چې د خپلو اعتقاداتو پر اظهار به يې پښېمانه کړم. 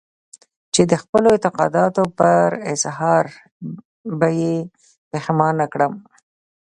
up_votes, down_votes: 2, 0